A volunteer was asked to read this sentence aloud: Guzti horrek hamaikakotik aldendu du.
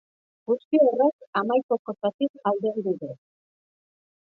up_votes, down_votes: 1, 3